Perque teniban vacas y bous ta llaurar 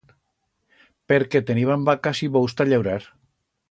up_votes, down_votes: 2, 0